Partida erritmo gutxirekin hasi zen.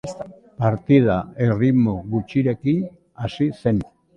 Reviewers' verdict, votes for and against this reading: accepted, 2, 0